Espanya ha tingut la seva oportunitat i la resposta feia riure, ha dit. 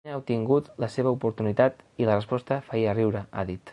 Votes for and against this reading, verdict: 0, 2, rejected